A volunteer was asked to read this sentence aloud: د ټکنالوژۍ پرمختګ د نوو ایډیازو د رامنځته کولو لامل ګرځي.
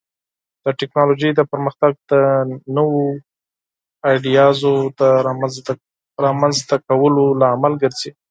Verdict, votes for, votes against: rejected, 2, 4